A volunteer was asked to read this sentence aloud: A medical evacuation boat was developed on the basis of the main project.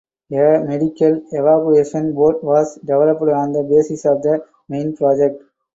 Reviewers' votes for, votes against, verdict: 4, 2, accepted